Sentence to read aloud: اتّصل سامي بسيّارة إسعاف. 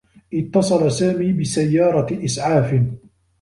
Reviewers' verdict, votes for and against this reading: accepted, 2, 1